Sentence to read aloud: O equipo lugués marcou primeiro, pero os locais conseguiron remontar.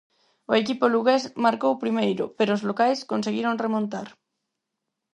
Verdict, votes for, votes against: accepted, 4, 0